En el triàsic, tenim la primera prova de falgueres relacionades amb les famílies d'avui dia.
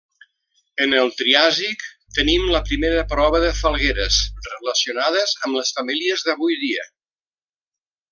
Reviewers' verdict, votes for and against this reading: accepted, 3, 0